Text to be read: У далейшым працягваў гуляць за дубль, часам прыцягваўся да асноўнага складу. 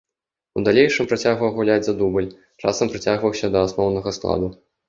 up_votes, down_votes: 2, 0